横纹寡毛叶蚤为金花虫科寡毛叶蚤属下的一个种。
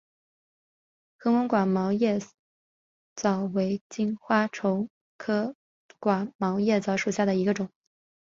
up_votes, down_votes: 2, 2